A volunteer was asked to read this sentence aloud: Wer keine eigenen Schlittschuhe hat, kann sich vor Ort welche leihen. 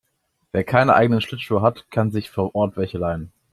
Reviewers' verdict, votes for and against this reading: accepted, 2, 0